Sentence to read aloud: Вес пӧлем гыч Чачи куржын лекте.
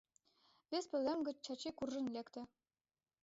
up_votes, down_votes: 2, 0